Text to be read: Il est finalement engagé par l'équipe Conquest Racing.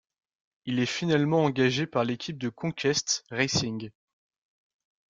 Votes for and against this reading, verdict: 1, 2, rejected